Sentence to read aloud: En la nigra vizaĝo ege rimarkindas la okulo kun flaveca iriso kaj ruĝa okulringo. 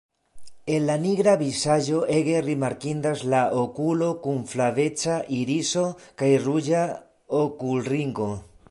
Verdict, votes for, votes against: accepted, 2, 0